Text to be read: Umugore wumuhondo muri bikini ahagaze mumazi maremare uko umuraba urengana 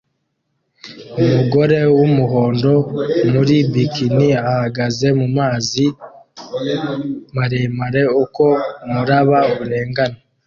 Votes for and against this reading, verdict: 2, 0, accepted